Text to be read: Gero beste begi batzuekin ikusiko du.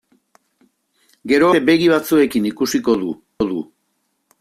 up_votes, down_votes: 0, 2